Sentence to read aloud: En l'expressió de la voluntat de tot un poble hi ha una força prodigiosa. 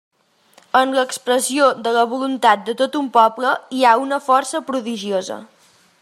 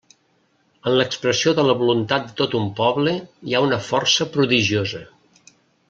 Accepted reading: first